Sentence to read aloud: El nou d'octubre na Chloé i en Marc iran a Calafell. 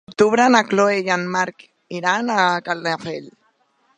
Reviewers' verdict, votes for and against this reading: rejected, 0, 3